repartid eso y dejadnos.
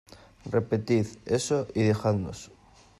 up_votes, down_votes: 0, 2